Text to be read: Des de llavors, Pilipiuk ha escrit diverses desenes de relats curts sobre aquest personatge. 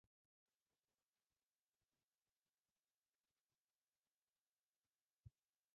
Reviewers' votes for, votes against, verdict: 0, 2, rejected